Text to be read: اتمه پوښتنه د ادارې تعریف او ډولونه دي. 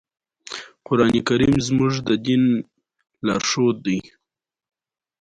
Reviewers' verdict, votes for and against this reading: accepted, 2, 0